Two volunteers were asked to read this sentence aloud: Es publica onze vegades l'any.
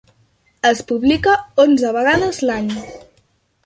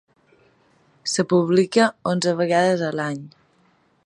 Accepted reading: first